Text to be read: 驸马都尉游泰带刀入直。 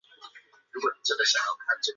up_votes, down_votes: 1, 2